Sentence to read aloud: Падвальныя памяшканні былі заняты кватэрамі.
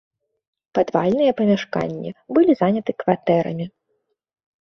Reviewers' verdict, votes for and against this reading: rejected, 0, 2